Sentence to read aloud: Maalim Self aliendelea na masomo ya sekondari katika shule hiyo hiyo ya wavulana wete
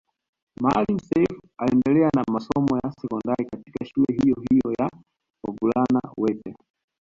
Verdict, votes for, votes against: rejected, 0, 2